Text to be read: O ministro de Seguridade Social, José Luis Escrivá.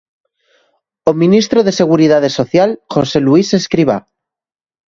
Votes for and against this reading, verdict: 3, 0, accepted